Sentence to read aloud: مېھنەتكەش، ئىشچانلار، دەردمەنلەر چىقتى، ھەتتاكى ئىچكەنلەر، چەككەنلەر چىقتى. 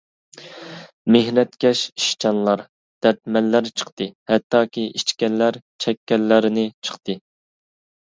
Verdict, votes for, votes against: rejected, 0, 2